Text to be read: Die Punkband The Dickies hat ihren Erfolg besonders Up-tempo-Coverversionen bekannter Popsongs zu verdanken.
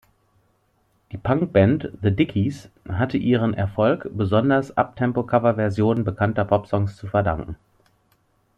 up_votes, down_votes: 0, 2